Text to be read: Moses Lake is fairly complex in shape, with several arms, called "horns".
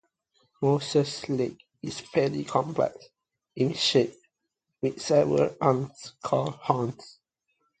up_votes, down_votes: 1, 2